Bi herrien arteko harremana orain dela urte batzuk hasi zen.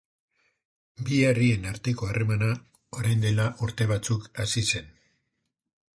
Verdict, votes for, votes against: accepted, 2, 0